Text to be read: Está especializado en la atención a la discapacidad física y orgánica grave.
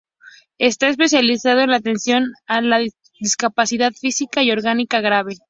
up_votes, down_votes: 0, 2